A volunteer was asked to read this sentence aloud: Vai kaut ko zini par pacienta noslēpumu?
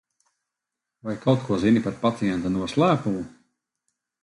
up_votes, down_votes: 2, 0